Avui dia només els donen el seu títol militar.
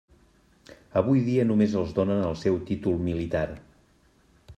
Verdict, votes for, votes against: accepted, 3, 0